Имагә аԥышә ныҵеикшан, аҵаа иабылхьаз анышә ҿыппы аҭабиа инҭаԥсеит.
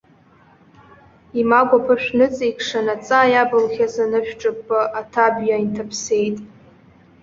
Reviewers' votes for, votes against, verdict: 2, 0, accepted